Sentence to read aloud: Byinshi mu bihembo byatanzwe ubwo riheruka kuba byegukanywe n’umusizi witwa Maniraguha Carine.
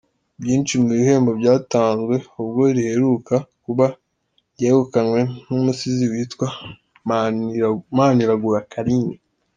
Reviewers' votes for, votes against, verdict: 1, 2, rejected